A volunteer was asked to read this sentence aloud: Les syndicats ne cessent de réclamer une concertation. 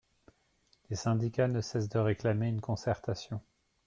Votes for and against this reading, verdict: 2, 0, accepted